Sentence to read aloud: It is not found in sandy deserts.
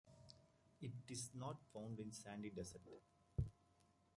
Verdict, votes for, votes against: rejected, 1, 2